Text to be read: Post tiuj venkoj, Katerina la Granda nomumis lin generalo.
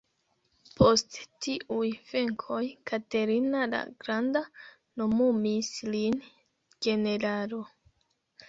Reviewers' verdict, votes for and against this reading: rejected, 0, 2